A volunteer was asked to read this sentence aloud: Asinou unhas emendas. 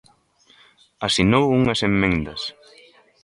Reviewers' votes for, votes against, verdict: 0, 2, rejected